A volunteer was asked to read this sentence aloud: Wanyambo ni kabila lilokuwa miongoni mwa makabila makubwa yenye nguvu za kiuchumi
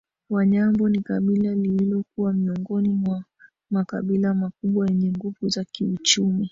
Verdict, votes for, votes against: rejected, 0, 2